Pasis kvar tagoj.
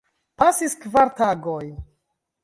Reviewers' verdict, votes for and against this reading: accepted, 2, 0